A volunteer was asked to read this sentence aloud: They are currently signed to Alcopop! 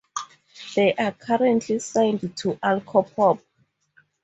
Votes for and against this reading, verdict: 2, 0, accepted